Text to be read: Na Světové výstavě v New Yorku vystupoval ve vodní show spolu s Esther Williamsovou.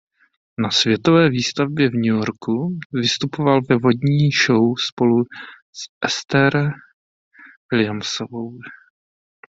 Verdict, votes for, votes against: rejected, 1, 2